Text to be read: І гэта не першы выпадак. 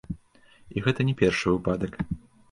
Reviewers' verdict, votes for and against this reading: rejected, 1, 2